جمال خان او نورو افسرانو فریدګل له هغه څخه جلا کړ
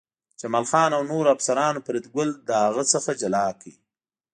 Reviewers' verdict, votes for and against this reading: accepted, 2, 0